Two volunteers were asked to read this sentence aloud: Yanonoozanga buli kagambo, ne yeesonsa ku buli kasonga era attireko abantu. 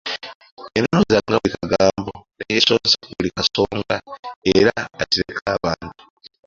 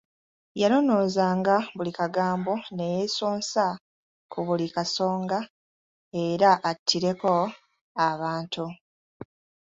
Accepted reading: second